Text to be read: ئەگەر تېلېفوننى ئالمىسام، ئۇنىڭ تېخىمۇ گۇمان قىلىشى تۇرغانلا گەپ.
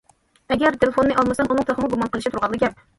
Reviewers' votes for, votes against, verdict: 2, 0, accepted